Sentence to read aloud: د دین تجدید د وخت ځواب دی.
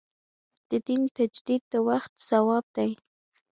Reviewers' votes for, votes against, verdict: 2, 0, accepted